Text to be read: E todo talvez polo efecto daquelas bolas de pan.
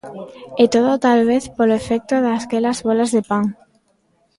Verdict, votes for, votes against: rejected, 0, 2